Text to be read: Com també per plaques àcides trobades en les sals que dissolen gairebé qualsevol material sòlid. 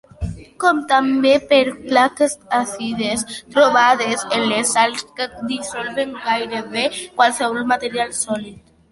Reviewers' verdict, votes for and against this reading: accepted, 2, 1